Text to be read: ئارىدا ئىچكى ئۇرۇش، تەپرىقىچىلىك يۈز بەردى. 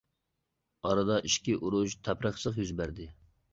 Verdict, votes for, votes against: accepted, 2, 0